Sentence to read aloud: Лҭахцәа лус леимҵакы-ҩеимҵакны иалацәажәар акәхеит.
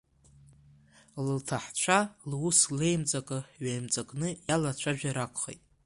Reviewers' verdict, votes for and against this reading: rejected, 1, 2